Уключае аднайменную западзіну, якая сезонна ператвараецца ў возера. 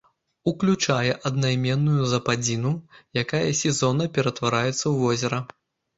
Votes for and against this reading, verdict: 1, 2, rejected